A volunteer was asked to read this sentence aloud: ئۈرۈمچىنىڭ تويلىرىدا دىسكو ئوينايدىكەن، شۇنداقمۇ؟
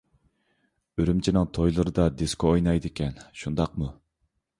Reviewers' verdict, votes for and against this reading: accepted, 2, 0